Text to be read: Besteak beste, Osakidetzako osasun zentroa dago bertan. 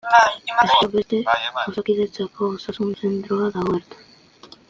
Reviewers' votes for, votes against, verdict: 0, 2, rejected